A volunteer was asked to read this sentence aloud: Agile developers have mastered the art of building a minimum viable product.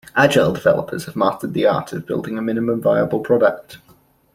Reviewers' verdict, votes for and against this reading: accepted, 2, 0